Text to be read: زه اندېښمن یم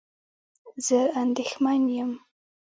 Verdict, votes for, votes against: rejected, 1, 2